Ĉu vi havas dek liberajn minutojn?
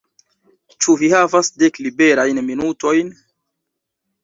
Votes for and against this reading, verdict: 2, 0, accepted